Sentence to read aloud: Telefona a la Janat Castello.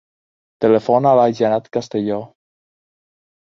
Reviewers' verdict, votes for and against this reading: accepted, 2, 0